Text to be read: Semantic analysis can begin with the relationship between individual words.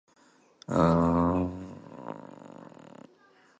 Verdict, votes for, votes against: rejected, 0, 2